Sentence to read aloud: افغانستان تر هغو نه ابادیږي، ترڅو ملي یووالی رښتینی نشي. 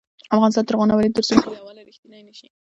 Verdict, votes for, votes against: accepted, 2, 1